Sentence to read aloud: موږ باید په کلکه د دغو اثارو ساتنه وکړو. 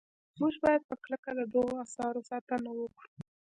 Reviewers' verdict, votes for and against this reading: accepted, 2, 0